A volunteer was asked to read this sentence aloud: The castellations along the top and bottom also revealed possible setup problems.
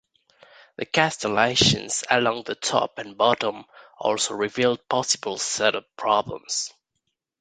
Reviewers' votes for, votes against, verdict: 1, 2, rejected